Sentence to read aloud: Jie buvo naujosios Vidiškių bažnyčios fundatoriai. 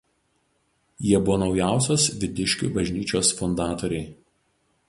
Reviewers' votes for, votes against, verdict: 0, 2, rejected